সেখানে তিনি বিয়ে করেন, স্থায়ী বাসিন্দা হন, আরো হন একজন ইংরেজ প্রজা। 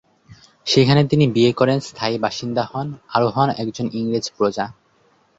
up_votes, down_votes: 2, 0